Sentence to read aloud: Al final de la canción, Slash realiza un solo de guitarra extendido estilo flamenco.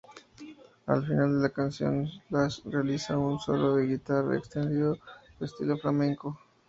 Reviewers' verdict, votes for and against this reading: accepted, 2, 0